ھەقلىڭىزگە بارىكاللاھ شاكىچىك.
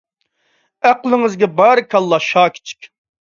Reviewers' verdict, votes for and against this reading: rejected, 1, 2